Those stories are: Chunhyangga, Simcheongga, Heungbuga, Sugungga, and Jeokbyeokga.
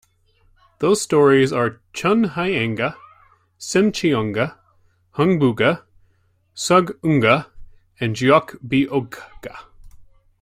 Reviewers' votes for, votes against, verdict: 1, 2, rejected